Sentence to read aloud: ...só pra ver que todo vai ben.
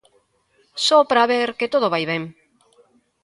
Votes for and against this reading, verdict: 2, 0, accepted